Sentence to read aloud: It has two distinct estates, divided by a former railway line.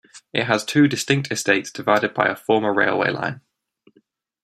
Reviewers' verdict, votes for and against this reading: accepted, 2, 0